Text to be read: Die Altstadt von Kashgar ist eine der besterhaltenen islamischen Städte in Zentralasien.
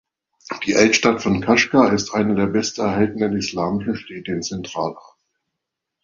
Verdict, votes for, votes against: rejected, 1, 3